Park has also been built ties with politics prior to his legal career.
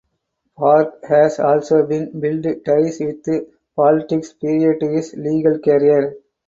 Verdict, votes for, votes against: rejected, 2, 6